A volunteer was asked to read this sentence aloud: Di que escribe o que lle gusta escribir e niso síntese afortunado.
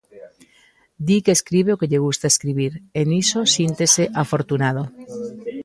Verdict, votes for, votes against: accepted, 2, 0